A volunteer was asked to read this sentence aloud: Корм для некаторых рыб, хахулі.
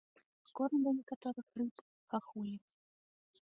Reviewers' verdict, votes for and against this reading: rejected, 2, 3